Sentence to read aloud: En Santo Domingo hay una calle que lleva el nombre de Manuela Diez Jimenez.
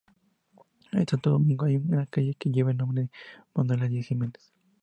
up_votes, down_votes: 2, 0